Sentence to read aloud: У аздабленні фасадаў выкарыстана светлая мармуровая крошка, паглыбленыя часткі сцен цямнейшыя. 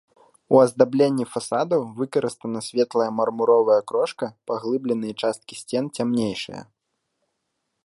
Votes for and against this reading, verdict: 2, 0, accepted